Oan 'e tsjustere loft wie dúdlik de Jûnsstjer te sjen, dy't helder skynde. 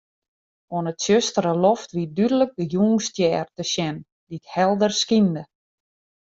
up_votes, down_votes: 2, 0